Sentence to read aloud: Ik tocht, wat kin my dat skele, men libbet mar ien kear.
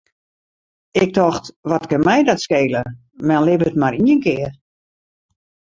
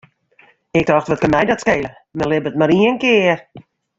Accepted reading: second